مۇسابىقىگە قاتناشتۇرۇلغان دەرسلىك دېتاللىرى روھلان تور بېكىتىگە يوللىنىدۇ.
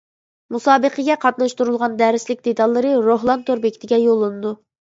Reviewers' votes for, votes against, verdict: 2, 0, accepted